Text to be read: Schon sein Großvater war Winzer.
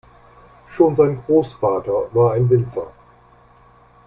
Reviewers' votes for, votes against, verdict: 0, 2, rejected